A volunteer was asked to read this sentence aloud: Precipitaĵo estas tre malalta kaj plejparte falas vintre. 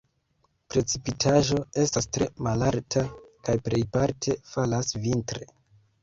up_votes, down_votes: 1, 2